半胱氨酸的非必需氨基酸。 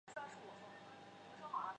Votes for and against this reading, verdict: 4, 3, accepted